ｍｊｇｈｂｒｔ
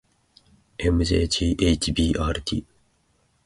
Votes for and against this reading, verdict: 2, 0, accepted